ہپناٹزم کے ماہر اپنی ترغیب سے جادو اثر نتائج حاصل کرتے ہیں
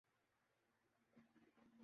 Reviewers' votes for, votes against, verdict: 0, 2, rejected